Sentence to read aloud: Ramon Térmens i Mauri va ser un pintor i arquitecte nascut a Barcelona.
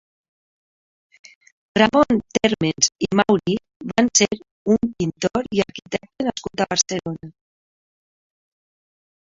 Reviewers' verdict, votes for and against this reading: rejected, 0, 2